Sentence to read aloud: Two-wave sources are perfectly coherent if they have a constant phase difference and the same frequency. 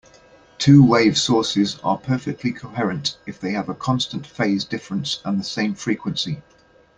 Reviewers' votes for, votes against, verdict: 2, 0, accepted